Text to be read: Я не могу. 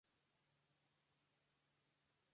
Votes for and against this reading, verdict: 0, 2, rejected